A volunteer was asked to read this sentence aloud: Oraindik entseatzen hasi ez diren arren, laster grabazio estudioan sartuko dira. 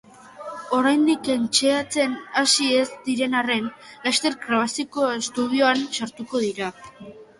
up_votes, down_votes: 3, 0